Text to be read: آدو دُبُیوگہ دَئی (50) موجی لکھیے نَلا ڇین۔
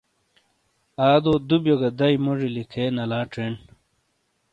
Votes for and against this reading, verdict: 0, 2, rejected